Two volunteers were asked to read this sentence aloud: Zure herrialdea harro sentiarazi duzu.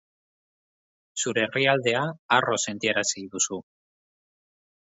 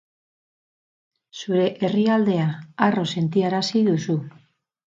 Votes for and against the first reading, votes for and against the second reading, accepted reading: 2, 0, 0, 2, first